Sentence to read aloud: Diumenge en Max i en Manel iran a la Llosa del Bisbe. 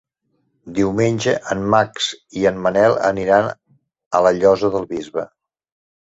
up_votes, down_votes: 2, 0